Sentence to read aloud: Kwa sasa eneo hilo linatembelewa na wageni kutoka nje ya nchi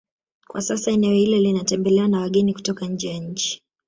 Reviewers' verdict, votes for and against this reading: rejected, 0, 2